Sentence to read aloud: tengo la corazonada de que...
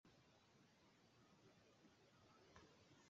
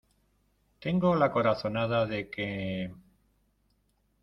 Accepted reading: second